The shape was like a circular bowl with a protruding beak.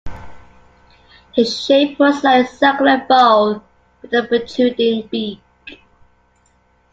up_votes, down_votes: 1, 2